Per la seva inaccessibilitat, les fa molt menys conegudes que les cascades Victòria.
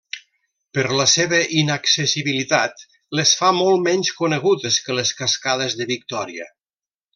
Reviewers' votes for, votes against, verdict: 0, 2, rejected